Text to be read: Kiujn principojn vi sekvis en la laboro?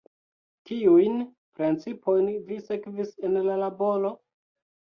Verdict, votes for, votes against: rejected, 1, 2